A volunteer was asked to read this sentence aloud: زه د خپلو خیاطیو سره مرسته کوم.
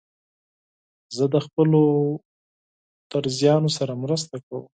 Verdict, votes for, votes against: rejected, 0, 4